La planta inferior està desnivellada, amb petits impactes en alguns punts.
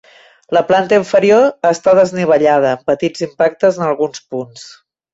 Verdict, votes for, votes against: rejected, 0, 2